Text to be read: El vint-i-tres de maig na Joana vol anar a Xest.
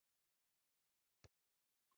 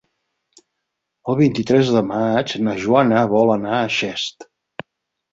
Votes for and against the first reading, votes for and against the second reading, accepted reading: 1, 2, 4, 0, second